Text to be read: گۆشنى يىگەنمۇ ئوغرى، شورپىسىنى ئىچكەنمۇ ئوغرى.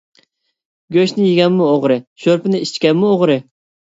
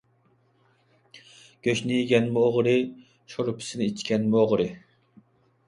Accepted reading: second